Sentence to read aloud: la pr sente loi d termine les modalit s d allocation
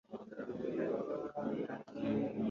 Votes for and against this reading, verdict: 0, 3, rejected